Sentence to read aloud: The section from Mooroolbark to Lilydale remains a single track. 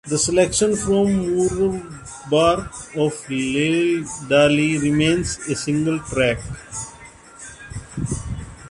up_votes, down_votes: 0, 2